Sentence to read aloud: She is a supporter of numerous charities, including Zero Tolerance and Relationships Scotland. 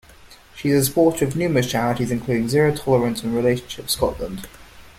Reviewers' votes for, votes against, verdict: 0, 2, rejected